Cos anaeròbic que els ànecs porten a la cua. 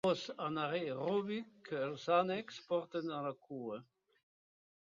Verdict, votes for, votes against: accepted, 2, 1